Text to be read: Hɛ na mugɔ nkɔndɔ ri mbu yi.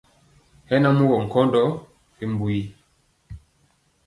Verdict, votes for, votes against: accepted, 2, 0